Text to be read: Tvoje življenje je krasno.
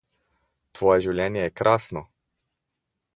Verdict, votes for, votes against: accepted, 2, 0